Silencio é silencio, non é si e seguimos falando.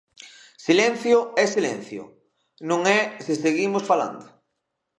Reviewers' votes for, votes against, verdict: 0, 2, rejected